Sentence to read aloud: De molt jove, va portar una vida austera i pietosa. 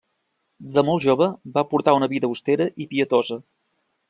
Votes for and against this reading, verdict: 2, 0, accepted